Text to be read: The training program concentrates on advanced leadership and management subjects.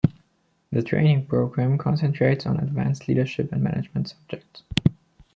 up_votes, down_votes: 2, 1